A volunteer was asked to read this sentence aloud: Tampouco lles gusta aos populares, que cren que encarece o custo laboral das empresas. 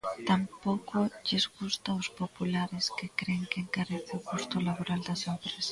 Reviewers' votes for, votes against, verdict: 0, 2, rejected